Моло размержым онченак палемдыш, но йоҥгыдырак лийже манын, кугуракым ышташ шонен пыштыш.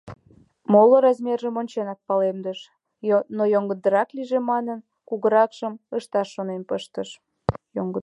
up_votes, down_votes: 1, 2